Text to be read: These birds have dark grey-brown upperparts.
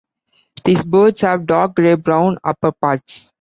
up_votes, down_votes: 2, 1